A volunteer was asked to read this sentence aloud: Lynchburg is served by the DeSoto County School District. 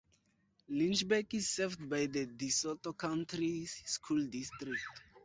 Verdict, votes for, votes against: rejected, 2, 2